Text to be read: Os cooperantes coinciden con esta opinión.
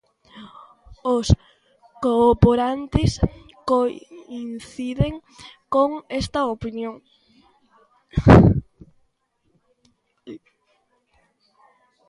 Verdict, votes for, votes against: rejected, 0, 2